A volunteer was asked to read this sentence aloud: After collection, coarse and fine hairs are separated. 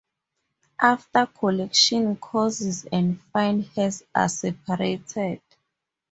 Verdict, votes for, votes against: rejected, 2, 2